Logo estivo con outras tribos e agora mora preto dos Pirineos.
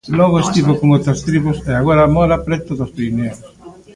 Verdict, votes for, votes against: rejected, 0, 2